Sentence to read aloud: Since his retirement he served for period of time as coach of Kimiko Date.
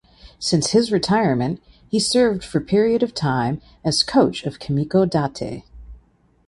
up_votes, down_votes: 2, 0